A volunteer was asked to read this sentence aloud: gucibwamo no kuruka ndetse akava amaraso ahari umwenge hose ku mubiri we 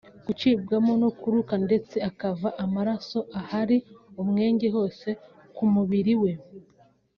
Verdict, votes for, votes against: accepted, 2, 0